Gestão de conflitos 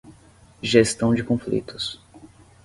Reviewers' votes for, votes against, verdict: 5, 0, accepted